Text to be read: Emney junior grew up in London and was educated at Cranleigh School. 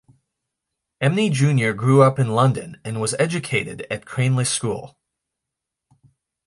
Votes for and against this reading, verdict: 2, 0, accepted